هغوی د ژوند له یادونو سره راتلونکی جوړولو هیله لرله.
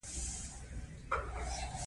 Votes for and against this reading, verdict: 2, 0, accepted